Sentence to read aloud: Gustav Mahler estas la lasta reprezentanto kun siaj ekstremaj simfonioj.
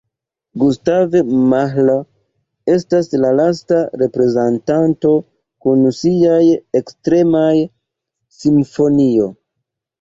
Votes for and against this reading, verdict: 1, 2, rejected